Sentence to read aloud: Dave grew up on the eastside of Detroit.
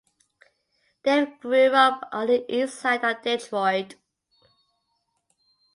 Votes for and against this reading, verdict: 2, 0, accepted